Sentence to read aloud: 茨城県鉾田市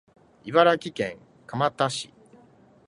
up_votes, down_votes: 0, 2